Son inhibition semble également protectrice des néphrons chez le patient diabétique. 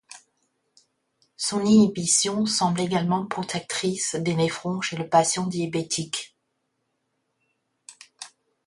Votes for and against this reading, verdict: 0, 2, rejected